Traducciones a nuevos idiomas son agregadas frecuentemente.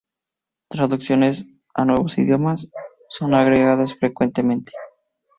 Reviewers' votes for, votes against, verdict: 2, 0, accepted